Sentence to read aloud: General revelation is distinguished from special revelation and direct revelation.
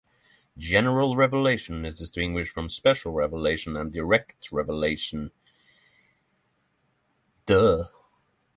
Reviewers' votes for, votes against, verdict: 0, 6, rejected